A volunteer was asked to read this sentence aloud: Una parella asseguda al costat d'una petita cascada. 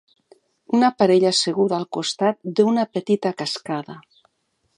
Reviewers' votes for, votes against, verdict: 2, 0, accepted